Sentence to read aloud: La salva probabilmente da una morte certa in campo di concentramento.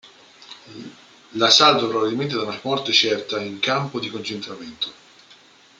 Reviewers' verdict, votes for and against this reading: rejected, 0, 2